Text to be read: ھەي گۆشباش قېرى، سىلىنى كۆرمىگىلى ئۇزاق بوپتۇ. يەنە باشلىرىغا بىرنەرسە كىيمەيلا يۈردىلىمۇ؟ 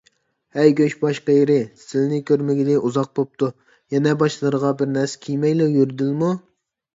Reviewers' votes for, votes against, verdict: 2, 0, accepted